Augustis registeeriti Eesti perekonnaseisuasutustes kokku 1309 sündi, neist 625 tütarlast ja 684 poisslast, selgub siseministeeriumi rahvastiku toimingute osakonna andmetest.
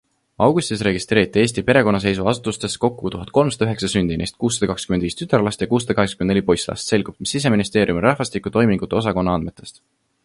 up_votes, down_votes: 0, 2